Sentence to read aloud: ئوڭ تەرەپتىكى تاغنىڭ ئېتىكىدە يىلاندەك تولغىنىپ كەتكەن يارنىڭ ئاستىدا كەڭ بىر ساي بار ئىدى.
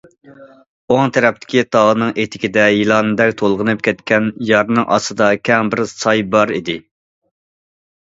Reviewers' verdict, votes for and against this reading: accepted, 2, 0